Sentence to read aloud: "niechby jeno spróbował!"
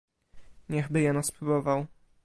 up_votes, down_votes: 2, 0